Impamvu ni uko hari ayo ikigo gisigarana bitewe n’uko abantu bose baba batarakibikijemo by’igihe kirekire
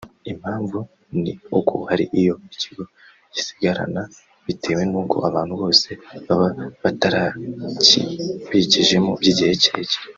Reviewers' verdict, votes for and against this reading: rejected, 0, 2